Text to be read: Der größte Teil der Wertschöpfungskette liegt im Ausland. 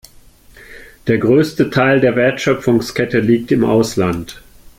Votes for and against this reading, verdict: 2, 0, accepted